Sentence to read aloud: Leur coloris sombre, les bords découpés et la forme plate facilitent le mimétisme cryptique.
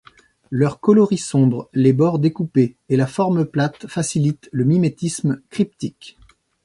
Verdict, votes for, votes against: accepted, 3, 0